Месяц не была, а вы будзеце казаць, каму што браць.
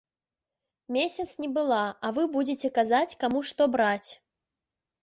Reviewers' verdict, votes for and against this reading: accepted, 2, 0